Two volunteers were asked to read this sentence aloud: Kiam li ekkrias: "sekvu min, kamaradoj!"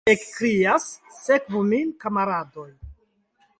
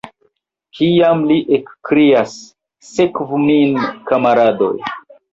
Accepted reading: second